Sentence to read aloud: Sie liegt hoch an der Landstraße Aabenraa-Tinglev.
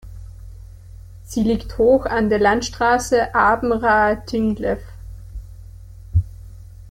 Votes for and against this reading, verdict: 1, 2, rejected